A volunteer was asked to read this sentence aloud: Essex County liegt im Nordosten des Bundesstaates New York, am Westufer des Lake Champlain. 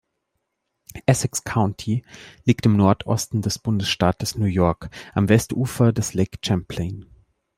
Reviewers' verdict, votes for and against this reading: accepted, 3, 0